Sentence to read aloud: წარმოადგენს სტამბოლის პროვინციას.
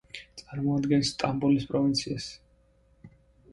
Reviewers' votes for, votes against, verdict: 2, 0, accepted